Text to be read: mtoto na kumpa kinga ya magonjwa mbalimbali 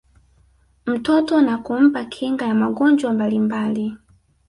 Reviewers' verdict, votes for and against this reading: rejected, 1, 2